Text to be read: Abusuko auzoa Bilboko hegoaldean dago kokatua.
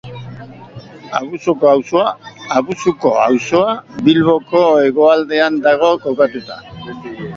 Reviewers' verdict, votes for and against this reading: rejected, 1, 2